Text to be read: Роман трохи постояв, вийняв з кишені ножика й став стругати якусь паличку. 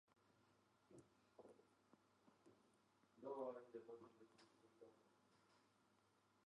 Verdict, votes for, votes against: rejected, 0, 2